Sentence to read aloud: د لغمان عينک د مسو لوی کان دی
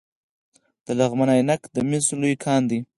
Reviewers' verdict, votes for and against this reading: rejected, 0, 4